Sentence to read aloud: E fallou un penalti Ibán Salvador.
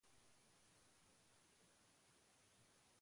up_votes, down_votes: 0, 2